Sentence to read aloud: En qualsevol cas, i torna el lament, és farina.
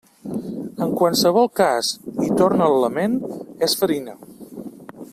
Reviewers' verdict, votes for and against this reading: accepted, 2, 0